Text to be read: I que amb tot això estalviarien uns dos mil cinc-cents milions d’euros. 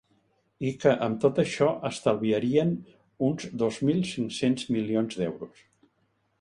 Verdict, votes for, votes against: accepted, 3, 0